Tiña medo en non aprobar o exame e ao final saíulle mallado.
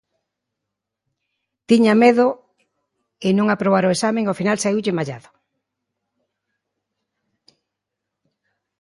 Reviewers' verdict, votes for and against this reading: accepted, 2, 0